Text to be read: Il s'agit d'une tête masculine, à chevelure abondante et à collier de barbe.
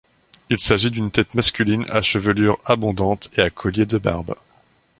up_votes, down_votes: 2, 0